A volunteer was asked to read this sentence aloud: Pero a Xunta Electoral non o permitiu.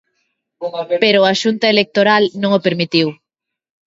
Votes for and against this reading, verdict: 1, 2, rejected